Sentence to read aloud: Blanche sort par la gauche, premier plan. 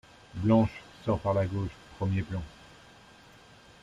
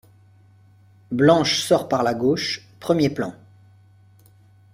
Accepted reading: second